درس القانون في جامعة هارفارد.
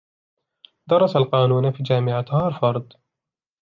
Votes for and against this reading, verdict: 2, 0, accepted